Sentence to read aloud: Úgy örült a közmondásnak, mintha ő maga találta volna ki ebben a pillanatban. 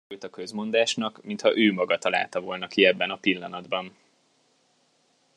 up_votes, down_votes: 0, 2